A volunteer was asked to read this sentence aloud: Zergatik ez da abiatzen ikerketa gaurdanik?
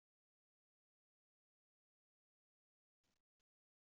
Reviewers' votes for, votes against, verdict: 0, 2, rejected